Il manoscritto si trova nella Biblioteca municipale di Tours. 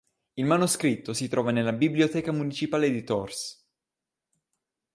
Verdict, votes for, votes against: accepted, 2, 0